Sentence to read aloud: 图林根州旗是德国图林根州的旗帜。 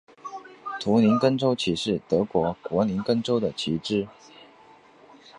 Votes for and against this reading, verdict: 5, 1, accepted